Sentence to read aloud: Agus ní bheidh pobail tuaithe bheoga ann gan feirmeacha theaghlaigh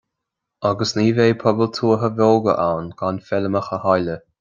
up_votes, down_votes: 2, 1